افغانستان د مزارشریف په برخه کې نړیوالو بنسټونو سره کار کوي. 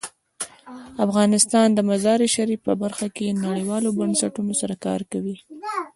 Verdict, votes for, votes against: accepted, 2, 0